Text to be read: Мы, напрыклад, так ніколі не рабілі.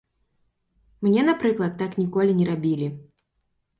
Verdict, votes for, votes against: rejected, 0, 2